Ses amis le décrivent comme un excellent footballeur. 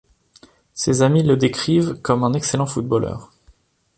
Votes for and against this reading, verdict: 2, 0, accepted